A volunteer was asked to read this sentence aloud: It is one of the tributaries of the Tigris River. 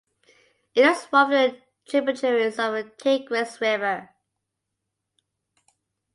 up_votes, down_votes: 1, 2